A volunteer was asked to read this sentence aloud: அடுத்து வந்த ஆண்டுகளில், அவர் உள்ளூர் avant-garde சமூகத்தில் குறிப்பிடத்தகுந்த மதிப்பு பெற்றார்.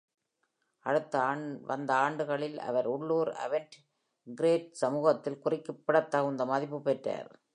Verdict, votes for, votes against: rejected, 0, 2